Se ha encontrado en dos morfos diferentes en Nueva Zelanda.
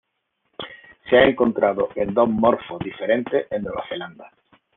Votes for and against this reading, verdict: 1, 2, rejected